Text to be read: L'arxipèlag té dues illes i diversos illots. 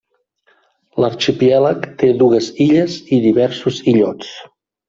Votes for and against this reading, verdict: 2, 3, rejected